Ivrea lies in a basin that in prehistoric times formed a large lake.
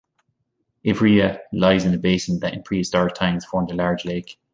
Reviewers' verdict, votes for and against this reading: accepted, 2, 0